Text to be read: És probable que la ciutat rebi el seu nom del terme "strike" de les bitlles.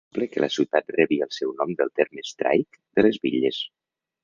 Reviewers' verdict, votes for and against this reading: rejected, 1, 2